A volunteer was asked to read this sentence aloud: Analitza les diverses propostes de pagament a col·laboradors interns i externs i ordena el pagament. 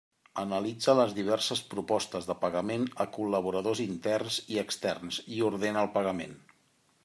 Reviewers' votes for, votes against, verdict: 3, 0, accepted